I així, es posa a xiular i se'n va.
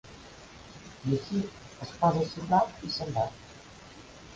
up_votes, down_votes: 0, 3